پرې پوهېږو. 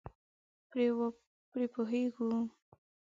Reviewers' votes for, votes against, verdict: 0, 2, rejected